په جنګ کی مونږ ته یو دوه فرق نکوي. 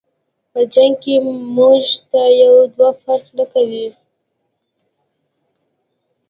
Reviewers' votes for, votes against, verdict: 2, 0, accepted